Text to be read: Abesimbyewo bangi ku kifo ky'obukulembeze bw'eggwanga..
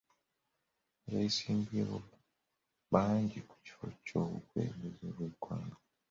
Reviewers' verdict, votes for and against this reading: rejected, 0, 2